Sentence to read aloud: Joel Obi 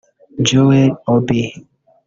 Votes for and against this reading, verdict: 0, 2, rejected